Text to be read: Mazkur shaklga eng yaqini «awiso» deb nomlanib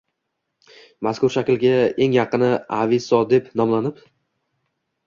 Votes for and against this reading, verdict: 2, 0, accepted